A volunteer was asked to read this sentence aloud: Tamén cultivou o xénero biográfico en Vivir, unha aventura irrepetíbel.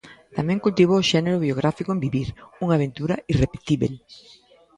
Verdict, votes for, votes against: accepted, 2, 0